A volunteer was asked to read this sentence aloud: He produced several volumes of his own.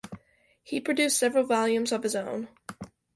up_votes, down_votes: 2, 0